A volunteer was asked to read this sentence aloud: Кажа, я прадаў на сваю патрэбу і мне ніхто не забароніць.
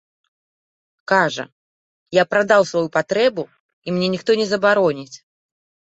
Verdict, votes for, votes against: rejected, 1, 2